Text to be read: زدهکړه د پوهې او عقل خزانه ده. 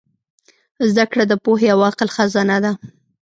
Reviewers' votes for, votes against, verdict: 2, 0, accepted